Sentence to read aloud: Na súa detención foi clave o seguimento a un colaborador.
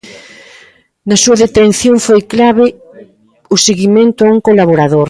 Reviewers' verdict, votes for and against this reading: accepted, 2, 0